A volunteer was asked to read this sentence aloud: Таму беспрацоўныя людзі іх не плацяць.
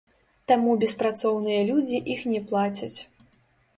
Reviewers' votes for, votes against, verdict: 0, 2, rejected